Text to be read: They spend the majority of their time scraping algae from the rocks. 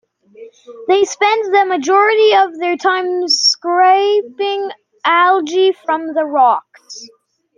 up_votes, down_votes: 2, 0